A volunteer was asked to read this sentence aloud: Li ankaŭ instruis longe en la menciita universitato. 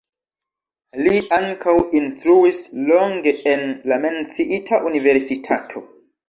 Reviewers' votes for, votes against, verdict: 2, 1, accepted